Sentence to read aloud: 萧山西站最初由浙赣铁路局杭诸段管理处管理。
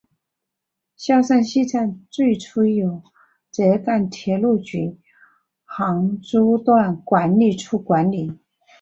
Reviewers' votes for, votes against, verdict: 1, 2, rejected